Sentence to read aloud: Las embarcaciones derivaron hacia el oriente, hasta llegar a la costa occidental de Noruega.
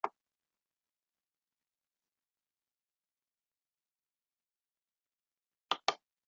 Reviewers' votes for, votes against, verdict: 0, 2, rejected